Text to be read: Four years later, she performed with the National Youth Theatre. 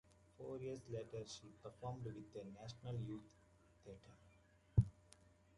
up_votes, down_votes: 2, 1